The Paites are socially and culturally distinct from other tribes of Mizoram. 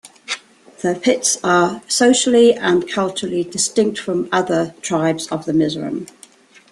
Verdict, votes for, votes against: rejected, 0, 2